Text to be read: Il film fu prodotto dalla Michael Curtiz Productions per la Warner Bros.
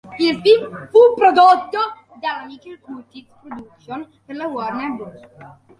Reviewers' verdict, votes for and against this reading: rejected, 1, 2